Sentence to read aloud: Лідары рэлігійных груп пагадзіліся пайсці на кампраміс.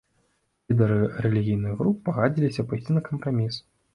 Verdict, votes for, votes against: rejected, 1, 2